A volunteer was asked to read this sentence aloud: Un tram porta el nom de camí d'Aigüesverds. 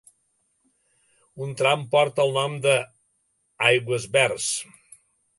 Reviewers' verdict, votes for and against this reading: rejected, 0, 2